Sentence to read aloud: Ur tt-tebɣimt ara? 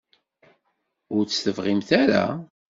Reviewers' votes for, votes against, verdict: 2, 0, accepted